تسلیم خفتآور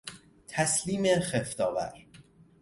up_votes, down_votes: 0, 2